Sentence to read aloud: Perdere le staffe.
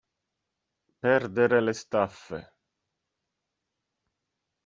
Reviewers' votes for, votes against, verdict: 2, 0, accepted